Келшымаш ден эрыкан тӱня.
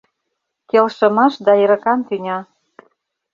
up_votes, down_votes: 1, 2